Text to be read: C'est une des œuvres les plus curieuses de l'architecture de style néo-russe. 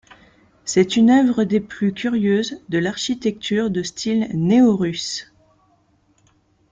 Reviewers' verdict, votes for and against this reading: rejected, 0, 2